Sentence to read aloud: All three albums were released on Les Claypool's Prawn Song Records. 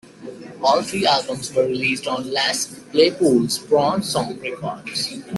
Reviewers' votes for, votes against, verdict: 2, 0, accepted